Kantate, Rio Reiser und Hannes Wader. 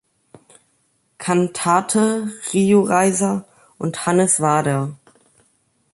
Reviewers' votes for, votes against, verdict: 2, 0, accepted